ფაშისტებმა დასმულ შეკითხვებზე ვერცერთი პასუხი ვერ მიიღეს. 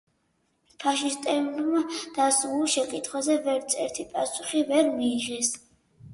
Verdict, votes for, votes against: rejected, 0, 4